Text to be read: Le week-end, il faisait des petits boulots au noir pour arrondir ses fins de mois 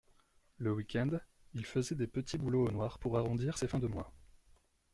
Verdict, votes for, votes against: accepted, 2, 0